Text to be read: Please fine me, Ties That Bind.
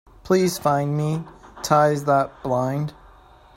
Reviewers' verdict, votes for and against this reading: rejected, 0, 2